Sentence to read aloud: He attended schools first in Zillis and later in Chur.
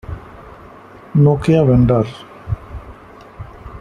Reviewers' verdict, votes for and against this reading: rejected, 0, 2